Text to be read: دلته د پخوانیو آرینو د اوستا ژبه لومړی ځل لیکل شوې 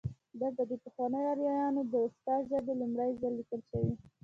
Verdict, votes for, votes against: accepted, 2, 0